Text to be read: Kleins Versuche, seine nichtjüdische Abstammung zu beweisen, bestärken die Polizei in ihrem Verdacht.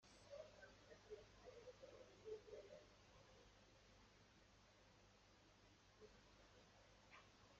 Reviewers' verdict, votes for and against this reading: rejected, 0, 2